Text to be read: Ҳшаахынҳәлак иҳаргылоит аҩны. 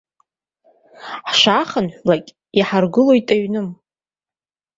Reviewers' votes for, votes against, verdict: 2, 0, accepted